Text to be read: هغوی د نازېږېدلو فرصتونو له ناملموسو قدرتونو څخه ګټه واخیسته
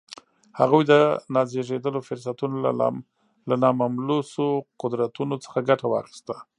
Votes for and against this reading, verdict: 0, 2, rejected